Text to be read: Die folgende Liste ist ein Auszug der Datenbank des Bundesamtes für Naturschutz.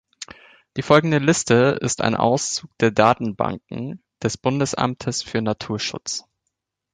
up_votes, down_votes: 0, 2